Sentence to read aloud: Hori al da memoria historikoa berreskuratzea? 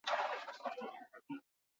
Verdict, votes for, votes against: rejected, 0, 10